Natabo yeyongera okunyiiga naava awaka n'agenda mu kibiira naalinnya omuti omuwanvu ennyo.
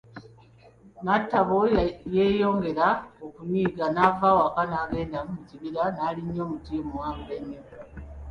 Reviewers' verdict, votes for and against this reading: accepted, 2, 1